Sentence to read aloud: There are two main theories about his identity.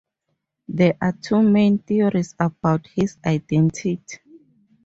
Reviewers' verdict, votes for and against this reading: rejected, 0, 2